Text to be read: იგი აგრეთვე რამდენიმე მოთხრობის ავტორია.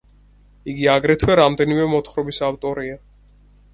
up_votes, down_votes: 4, 0